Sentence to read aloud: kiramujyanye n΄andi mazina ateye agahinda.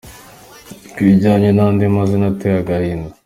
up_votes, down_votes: 2, 3